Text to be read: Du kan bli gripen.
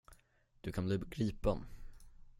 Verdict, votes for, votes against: rejected, 0, 10